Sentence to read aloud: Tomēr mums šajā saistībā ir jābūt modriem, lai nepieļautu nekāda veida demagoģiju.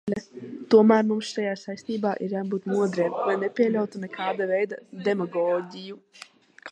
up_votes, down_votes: 1, 2